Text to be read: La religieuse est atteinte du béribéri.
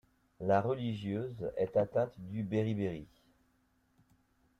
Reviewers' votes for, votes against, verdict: 2, 0, accepted